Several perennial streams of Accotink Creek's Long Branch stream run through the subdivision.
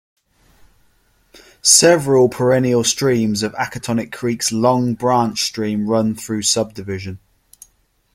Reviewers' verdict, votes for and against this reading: accepted, 2, 0